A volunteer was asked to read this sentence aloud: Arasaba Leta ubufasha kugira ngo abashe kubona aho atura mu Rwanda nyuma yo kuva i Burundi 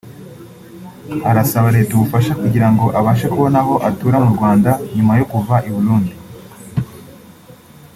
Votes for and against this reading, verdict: 2, 0, accepted